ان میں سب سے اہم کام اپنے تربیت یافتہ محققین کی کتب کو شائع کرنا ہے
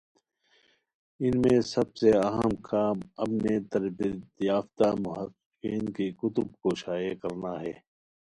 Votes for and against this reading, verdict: 1, 2, rejected